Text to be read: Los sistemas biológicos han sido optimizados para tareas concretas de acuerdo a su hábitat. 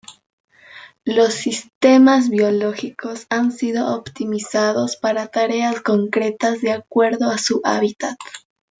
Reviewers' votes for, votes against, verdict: 0, 2, rejected